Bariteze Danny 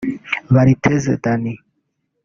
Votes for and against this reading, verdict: 1, 2, rejected